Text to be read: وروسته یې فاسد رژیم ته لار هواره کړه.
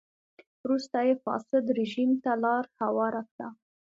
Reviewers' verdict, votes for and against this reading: accepted, 2, 0